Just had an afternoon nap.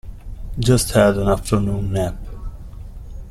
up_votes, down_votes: 2, 0